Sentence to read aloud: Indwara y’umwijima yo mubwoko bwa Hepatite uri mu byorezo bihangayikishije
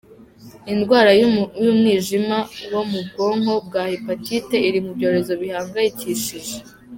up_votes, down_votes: 1, 2